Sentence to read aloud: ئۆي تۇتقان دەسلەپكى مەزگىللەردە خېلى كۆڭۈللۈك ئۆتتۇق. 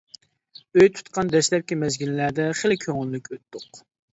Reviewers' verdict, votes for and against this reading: accepted, 2, 0